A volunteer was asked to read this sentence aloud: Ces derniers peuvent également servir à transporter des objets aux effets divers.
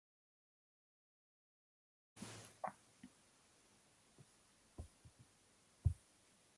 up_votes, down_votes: 0, 2